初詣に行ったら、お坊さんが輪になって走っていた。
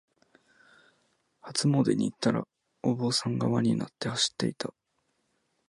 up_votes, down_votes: 2, 0